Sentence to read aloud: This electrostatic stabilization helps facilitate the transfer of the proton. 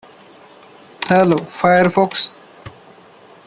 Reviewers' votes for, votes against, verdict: 0, 2, rejected